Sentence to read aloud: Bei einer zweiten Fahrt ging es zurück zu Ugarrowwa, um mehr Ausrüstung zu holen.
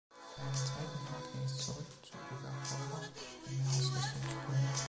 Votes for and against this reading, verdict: 0, 2, rejected